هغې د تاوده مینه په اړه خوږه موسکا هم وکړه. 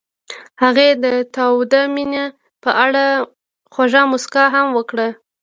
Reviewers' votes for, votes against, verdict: 2, 0, accepted